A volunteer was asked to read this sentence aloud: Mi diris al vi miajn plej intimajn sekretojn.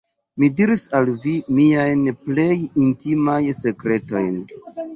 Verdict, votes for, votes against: rejected, 0, 2